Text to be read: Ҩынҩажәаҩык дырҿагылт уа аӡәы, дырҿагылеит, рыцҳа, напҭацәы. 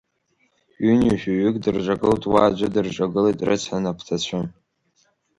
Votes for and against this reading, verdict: 2, 1, accepted